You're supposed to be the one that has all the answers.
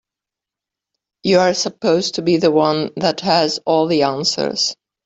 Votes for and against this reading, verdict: 2, 1, accepted